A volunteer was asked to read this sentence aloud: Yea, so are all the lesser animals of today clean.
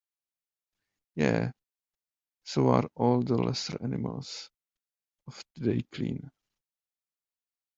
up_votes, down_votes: 0, 2